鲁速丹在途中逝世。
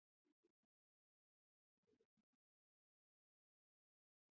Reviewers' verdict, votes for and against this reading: rejected, 0, 3